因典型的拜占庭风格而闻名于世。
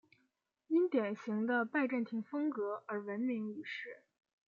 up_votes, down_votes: 2, 0